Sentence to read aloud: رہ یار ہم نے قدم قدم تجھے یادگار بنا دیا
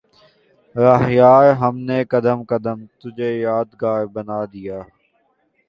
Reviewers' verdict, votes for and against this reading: accepted, 2, 0